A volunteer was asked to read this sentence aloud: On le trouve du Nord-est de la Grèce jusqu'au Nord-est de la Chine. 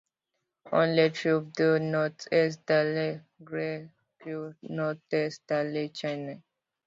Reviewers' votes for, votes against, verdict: 0, 2, rejected